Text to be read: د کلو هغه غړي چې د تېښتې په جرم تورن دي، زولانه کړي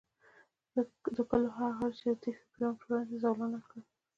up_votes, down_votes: 2, 1